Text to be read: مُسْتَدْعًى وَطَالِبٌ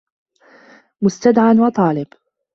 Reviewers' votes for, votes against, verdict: 2, 0, accepted